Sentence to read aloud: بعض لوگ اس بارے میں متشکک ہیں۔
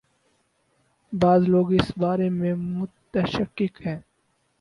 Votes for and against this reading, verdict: 6, 0, accepted